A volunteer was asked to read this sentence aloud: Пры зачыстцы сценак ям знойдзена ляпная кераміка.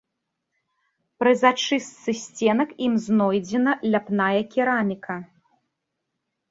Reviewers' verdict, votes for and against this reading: rejected, 0, 3